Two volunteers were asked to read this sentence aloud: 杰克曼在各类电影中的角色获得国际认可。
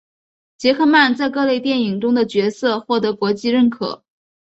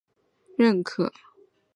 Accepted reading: first